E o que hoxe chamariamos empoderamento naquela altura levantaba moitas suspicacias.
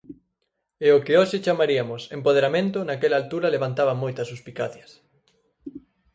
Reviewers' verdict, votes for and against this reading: rejected, 0, 4